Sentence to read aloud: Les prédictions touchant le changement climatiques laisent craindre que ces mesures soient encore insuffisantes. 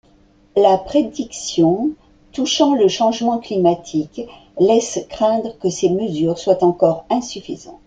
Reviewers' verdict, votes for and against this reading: accepted, 2, 1